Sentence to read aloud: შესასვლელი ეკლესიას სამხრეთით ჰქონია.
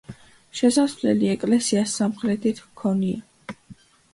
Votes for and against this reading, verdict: 3, 0, accepted